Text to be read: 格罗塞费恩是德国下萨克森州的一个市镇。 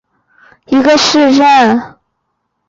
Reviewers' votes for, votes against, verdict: 1, 6, rejected